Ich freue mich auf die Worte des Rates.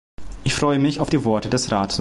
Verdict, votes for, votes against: rejected, 0, 2